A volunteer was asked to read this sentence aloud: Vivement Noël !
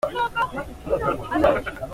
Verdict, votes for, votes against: rejected, 0, 2